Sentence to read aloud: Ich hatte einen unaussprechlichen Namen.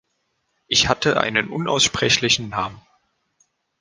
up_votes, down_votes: 2, 0